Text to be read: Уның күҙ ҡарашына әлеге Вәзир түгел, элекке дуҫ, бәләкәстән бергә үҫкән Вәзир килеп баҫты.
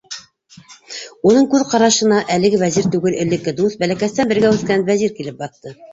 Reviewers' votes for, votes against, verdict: 2, 1, accepted